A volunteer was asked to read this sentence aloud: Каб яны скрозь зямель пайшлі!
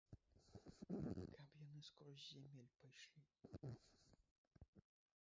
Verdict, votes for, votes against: rejected, 2, 3